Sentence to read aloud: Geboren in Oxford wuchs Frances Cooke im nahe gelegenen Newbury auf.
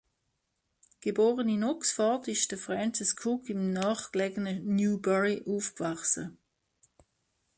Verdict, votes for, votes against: rejected, 0, 2